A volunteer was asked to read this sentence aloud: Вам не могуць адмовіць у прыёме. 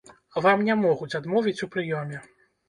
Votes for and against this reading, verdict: 2, 0, accepted